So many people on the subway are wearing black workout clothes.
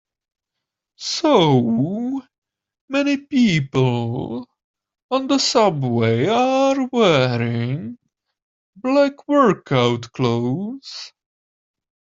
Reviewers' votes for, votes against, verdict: 1, 2, rejected